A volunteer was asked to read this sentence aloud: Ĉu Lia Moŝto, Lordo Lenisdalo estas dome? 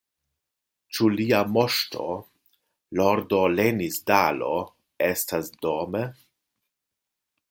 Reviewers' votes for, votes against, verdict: 2, 0, accepted